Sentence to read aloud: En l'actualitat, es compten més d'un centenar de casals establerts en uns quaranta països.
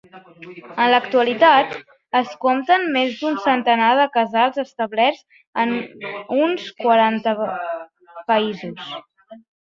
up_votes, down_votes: 1, 2